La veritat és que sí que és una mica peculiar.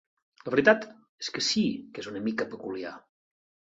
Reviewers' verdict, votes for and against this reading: accepted, 3, 0